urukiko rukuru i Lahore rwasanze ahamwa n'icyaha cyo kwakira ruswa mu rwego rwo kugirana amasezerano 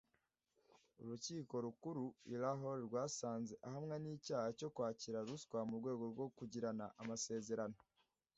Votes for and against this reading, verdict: 2, 0, accepted